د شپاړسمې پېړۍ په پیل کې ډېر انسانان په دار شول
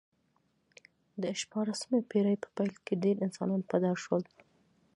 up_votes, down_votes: 0, 2